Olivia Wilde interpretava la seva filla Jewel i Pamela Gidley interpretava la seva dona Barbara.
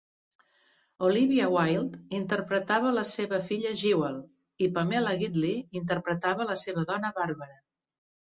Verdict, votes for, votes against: accepted, 2, 0